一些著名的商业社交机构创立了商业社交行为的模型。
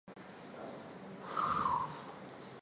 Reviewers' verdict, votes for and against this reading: rejected, 1, 2